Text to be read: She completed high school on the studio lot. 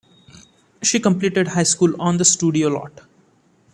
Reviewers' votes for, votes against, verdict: 2, 0, accepted